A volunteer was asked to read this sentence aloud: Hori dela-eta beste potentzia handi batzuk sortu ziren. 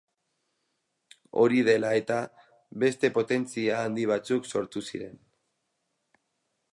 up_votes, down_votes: 4, 0